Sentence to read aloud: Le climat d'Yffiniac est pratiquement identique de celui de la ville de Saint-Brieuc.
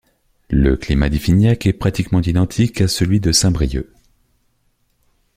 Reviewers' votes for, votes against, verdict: 1, 2, rejected